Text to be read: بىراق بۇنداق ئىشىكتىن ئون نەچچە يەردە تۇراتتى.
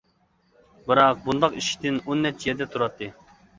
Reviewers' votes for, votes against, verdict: 2, 0, accepted